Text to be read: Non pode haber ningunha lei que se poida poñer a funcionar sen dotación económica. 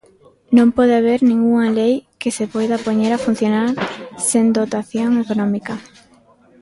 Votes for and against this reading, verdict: 2, 0, accepted